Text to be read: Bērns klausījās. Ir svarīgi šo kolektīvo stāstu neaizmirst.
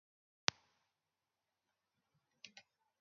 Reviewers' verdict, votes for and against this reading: rejected, 0, 2